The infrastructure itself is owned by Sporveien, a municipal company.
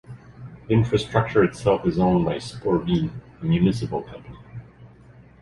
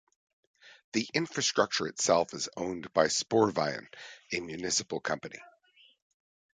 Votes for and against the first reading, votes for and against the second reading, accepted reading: 0, 2, 2, 0, second